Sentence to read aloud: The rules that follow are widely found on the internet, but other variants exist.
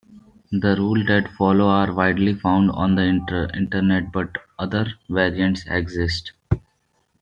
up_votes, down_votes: 1, 2